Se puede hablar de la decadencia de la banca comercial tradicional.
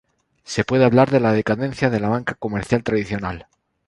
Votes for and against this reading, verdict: 4, 0, accepted